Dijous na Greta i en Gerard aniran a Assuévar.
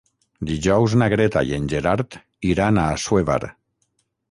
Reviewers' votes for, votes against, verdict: 0, 3, rejected